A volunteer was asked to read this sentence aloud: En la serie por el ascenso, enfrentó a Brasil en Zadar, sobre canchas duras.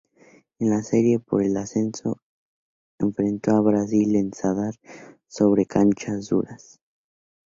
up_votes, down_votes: 2, 0